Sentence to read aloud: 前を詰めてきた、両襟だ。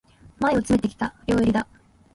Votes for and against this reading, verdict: 1, 2, rejected